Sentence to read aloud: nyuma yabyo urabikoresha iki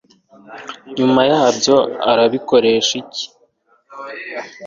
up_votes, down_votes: 2, 0